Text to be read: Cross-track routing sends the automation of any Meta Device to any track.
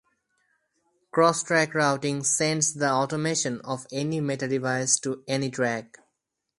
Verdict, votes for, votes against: rejected, 2, 2